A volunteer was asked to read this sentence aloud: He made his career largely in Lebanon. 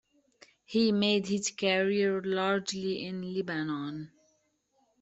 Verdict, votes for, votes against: rejected, 1, 2